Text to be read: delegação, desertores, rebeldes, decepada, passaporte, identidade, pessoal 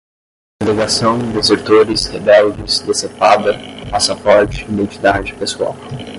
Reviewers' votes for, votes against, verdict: 5, 5, rejected